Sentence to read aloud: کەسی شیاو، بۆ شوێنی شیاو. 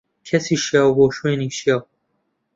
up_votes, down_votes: 2, 0